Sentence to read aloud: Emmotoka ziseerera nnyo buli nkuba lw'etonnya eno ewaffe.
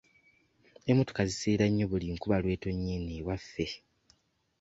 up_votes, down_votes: 2, 0